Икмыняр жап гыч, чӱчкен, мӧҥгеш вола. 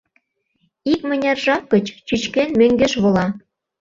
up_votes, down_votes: 2, 0